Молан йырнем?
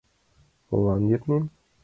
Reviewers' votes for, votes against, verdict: 2, 0, accepted